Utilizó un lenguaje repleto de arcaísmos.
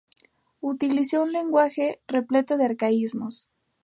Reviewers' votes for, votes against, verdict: 2, 0, accepted